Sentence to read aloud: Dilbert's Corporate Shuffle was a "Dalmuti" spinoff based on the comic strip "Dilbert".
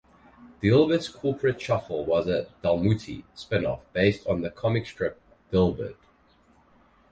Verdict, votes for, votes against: accepted, 4, 0